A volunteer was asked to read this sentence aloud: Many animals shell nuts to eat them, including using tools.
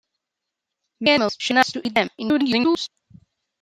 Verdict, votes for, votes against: rejected, 1, 2